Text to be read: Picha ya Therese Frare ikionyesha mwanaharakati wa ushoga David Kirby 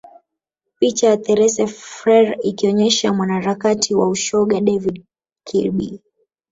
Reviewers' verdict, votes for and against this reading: accepted, 2, 1